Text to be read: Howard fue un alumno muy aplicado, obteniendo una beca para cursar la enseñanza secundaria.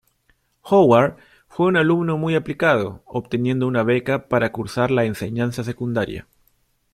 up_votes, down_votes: 2, 0